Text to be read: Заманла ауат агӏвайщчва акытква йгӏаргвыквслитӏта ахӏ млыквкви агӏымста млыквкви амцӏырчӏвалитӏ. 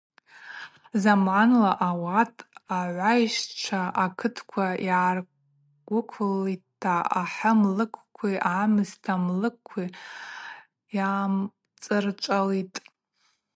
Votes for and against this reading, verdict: 0, 2, rejected